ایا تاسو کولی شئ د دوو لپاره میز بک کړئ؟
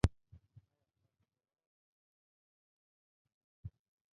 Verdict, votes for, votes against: rejected, 0, 2